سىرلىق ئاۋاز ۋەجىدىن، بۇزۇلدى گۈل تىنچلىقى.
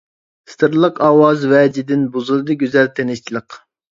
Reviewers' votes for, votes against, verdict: 0, 3, rejected